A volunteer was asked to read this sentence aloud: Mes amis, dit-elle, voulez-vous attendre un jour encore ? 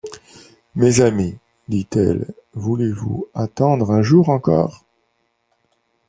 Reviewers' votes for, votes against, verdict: 1, 2, rejected